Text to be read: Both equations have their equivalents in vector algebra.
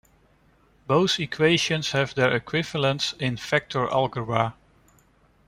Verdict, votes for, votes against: rejected, 0, 2